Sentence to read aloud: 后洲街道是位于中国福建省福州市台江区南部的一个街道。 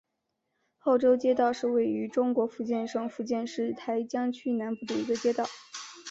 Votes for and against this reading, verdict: 2, 0, accepted